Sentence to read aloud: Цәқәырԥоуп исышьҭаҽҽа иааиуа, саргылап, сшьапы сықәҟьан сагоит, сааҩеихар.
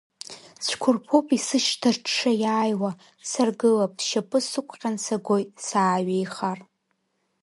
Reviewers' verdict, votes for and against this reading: rejected, 1, 2